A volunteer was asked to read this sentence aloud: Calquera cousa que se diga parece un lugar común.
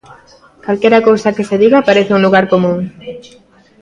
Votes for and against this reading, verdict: 2, 1, accepted